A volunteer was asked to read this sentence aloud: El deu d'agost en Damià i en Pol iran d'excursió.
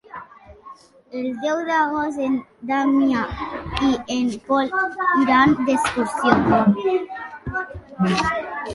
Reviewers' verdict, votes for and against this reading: accepted, 2, 0